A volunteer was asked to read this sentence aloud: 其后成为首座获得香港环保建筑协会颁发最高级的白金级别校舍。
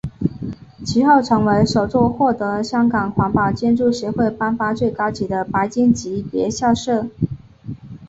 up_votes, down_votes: 4, 1